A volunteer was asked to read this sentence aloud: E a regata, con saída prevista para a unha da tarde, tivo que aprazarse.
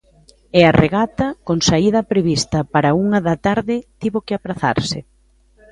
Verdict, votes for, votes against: accepted, 2, 0